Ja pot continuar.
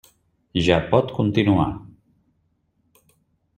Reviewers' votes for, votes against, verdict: 3, 0, accepted